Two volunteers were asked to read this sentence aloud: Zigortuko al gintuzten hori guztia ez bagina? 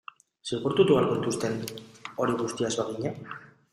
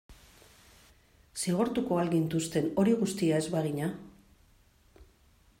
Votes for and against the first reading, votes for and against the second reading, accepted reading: 0, 2, 2, 0, second